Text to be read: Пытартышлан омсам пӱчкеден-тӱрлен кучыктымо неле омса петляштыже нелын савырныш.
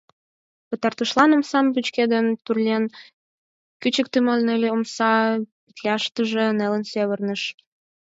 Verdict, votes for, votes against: rejected, 2, 4